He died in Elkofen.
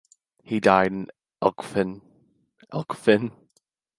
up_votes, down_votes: 0, 2